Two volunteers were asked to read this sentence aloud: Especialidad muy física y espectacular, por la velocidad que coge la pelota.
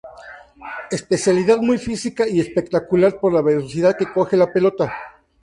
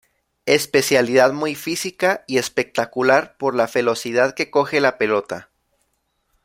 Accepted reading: first